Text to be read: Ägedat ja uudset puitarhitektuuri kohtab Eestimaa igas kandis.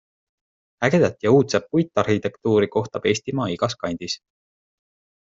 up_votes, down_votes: 2, 0